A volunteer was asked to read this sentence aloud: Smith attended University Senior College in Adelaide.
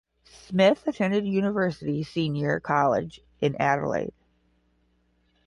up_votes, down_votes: 5, 0